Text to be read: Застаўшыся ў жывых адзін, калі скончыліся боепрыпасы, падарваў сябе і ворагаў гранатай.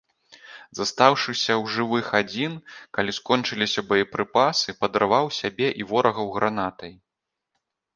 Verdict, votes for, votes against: accepted, 2, 0